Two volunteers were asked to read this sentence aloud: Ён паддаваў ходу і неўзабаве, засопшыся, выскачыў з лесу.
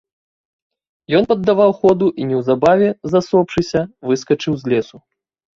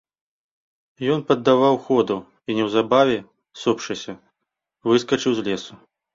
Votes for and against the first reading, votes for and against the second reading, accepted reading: 2, 0, 1, 2, first